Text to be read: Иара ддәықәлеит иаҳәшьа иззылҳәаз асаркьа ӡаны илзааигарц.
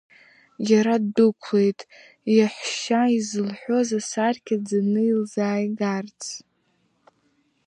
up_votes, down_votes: 0, 2